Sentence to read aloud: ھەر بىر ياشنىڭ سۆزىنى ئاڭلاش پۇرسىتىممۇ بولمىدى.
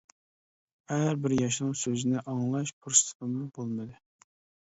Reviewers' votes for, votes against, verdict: 2, 0, accepted